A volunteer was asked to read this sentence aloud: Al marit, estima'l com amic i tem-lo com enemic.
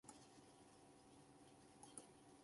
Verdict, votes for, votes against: rejected, 0, 3